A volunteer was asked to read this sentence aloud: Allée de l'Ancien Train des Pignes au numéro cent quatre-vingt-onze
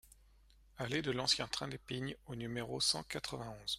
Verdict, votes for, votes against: accepted, 2, 0